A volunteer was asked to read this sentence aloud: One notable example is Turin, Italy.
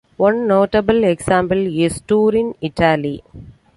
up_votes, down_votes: 2, 0